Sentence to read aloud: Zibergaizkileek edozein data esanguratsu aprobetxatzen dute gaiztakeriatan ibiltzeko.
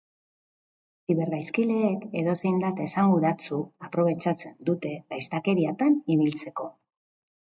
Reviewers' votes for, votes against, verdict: 2, 0, accepted